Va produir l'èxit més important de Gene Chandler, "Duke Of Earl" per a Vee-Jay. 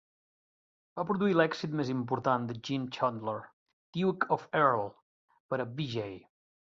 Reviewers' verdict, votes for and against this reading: accepted, 2, 1